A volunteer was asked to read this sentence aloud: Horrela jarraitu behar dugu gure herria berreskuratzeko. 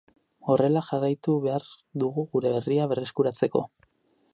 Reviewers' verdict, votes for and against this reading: accepted, 4, 0